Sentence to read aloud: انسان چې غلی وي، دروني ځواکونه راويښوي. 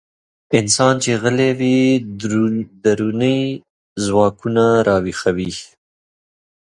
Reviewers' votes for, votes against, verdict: 1, 2, rejected